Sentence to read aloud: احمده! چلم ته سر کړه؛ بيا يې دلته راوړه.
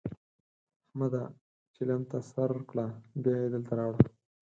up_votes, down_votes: 4, 2